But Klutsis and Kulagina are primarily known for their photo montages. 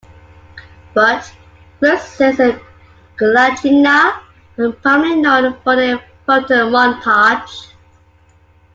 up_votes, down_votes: 0, 2